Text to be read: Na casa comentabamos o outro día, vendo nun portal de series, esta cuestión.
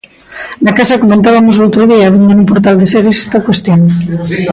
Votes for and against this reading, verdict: 0, 2, rejected